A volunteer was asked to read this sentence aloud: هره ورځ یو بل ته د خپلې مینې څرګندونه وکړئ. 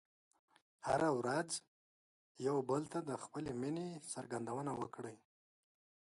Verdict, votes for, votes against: accepted, 2, 0